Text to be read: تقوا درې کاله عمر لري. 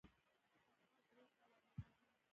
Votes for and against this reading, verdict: 1, 2, rejected